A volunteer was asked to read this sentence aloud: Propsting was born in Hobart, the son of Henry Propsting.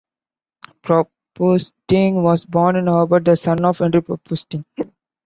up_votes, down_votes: 0, 2